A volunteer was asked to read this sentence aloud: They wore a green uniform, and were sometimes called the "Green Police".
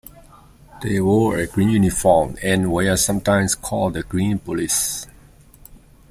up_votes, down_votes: 2, 0